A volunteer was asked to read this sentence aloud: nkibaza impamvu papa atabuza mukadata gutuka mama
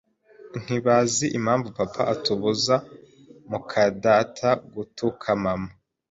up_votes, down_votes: 1, 2